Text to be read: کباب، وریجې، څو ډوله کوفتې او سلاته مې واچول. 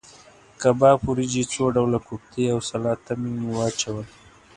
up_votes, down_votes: 2, 0